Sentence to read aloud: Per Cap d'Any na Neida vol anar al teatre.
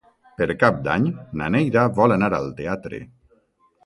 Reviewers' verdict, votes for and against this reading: accepted, 2, 0